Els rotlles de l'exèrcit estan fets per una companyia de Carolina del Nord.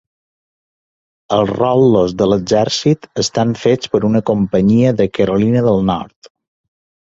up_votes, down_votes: 2, 1